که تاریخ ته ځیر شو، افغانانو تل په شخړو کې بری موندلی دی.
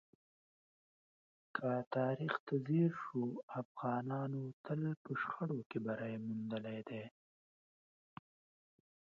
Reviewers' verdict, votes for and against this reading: accepted, 2, 0